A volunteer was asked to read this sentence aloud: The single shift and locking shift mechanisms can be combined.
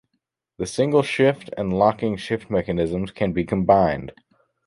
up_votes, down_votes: 2, 0